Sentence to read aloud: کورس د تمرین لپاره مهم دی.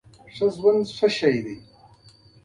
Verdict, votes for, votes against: accepted, 2, 0